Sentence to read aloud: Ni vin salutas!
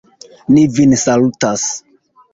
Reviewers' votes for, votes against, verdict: 1, 2, rejected